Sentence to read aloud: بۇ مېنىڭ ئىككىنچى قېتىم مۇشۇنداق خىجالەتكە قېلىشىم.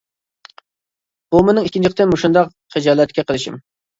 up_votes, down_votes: 2, 1